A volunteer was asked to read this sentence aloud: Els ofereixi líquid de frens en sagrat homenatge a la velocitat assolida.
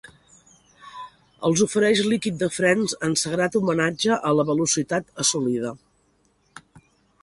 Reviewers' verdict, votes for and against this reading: accepted, 2, 1